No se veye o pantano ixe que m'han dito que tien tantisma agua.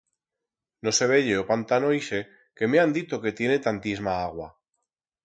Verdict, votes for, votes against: rejected, 2, 4